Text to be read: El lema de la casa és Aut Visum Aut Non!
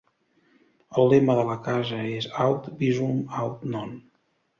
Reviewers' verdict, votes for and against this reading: accepted, 2, 0